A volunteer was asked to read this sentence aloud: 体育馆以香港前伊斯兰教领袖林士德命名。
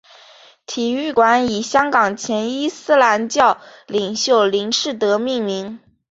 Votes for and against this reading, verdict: 2, 0, accepted